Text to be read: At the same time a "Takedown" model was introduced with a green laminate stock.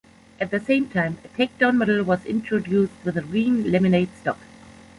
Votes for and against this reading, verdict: 2, 0, accepted